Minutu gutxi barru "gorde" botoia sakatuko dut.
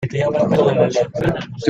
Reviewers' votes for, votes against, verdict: 0, 2, rejected